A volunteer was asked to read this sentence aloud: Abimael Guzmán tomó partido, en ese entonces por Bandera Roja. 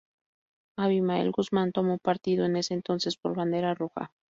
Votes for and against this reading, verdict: 2, 2, rejected